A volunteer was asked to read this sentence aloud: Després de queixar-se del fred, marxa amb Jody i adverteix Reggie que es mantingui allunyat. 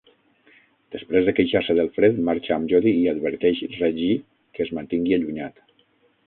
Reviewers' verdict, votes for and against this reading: rejected, 3, 6